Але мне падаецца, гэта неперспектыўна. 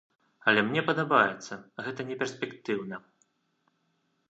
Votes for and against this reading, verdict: 1, 2, rejected